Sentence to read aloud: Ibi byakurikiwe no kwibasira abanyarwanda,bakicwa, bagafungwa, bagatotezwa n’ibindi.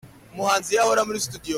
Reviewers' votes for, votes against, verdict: 0, 2, rejected